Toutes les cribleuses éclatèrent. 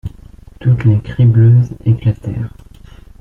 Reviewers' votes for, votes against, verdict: 2, 1, accepted